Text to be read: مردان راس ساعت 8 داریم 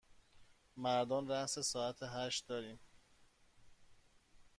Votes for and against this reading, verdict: 0, 2, rejected